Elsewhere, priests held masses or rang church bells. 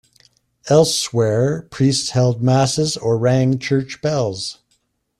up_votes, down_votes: 2, 0